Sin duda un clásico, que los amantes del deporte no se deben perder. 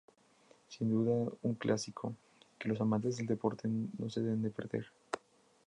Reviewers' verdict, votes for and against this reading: rejected, 0, 4